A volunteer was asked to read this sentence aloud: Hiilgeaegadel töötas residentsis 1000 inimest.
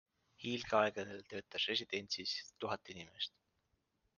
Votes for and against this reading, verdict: 0, 2, rejected